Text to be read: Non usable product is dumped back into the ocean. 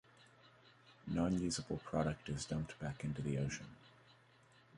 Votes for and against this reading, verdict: 1, 3, rejected